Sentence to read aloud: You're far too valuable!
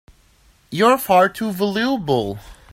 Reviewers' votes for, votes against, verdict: 1, 2, rejected